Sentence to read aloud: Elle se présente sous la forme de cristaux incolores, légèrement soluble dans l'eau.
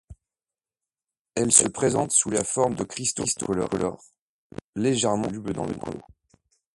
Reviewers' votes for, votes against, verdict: 1, 2, rejected